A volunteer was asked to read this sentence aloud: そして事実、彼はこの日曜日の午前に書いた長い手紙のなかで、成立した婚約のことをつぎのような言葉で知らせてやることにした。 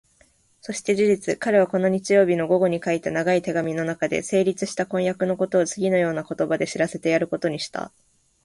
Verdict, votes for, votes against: accepted, 2, 1